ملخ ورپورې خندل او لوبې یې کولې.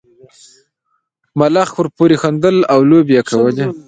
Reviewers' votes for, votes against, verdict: 1, 2, rejected